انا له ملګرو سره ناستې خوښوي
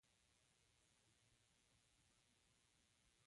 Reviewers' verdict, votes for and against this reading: rejected, 0, 2